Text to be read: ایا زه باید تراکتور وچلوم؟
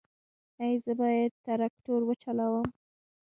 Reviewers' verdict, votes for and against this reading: accepted, 2, 0